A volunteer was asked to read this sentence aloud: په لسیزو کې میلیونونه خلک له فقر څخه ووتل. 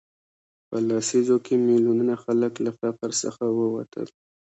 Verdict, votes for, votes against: accepted, 2, 0